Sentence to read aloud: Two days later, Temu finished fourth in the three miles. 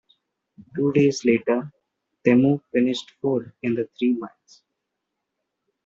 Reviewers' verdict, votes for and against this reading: accepted, 2, 0